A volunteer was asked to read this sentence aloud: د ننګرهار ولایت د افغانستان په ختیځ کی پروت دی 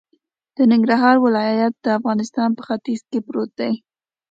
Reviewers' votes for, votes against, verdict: 2, 0, accepted